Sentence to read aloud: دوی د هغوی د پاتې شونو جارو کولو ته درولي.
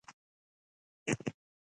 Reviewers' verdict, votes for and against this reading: rejected, 0, 2